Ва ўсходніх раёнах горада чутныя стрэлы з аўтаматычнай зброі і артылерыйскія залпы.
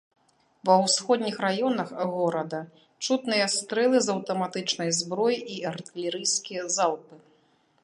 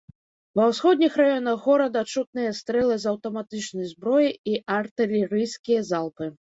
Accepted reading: first